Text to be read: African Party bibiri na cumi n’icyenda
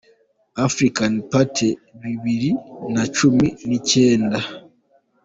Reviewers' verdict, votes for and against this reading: accepted, 2, 0